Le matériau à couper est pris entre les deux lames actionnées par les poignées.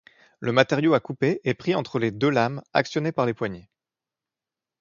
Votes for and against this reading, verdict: 2, 0, accepted